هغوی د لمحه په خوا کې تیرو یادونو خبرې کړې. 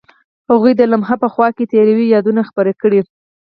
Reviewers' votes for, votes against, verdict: 4, 2, accepted